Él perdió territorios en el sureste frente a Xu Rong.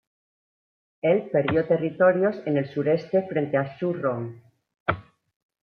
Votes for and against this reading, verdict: 2, 0, accepted